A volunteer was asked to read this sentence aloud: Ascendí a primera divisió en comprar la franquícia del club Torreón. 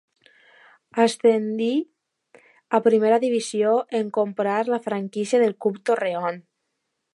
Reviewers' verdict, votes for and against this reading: rejected, 1, 2